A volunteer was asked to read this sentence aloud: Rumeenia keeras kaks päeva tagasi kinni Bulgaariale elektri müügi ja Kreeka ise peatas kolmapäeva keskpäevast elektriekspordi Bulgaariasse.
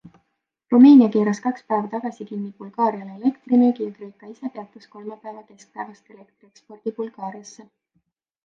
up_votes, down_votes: 2, 1